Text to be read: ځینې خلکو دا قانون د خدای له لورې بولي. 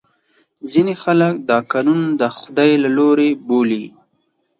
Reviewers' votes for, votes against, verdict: 2, 4, rejected